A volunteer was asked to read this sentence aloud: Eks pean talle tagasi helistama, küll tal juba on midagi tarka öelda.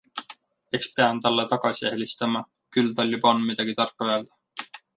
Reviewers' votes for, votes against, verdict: 2, 0, accepted